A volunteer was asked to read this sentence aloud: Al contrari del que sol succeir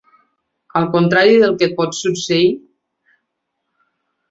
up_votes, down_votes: 0, 2